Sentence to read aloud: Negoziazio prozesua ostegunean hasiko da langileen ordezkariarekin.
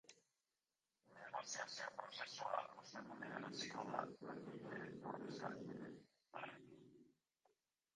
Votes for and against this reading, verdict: 0, 5, rejected